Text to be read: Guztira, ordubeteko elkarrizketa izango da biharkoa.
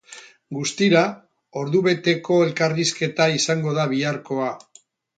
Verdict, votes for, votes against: accepted, 8, 0